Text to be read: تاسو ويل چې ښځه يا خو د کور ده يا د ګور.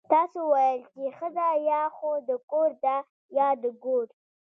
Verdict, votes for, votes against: rejected, 0, 2